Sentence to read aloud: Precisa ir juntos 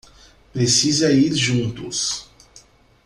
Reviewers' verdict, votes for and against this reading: accepted, 2, 0